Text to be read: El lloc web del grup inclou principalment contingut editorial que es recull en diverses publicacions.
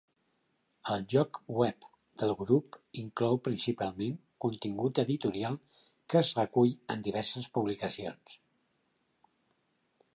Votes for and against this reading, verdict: 2, 0, accepted